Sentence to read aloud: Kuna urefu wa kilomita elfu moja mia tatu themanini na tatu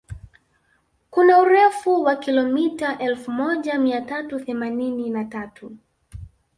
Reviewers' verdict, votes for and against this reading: rejected, 0, 2